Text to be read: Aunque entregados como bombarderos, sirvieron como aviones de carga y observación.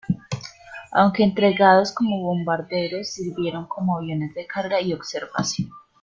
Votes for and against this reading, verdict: 2, 0, accepted